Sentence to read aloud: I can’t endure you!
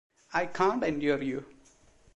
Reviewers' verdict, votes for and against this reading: accepted, 2, 1